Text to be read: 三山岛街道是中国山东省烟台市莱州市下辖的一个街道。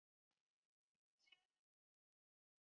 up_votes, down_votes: 0, 4